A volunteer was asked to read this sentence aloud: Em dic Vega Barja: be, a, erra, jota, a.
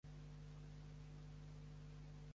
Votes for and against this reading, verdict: 0, 2, rejected